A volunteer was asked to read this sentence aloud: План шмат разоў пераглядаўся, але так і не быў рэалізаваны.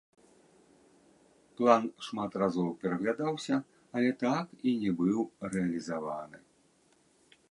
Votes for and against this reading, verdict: 1, 2, rejected